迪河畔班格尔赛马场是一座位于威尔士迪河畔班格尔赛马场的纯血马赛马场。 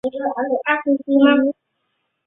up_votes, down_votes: 0, 2